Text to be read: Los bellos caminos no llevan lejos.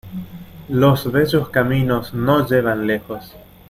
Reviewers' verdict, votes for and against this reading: accepted, 2, 0